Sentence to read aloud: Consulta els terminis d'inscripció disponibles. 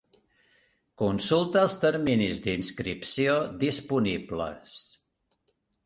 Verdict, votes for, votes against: accepted, 3, 0